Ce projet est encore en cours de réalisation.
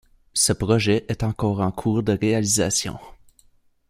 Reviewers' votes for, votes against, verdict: 2, 0, accepted